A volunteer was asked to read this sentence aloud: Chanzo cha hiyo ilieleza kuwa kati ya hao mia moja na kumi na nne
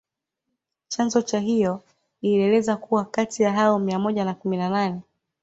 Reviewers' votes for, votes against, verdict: 2, 0, accepted